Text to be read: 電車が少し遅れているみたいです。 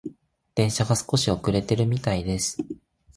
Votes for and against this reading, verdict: 2, 0, accepted